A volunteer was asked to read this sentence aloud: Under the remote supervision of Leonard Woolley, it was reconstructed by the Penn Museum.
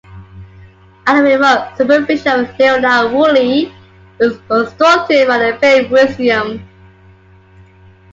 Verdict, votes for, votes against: accepted, 2, 0